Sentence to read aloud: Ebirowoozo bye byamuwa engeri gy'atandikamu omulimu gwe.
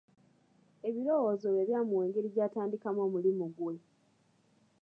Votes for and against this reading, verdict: 2, 0, accepted